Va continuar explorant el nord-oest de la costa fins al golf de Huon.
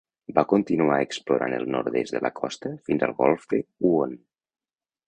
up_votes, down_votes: 1, 2